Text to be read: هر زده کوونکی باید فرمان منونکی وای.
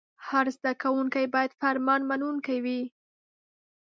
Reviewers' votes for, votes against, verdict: 2, 0, accepted